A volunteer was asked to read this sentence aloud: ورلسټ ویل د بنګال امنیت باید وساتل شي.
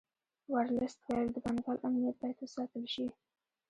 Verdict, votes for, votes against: accepted, 2, 1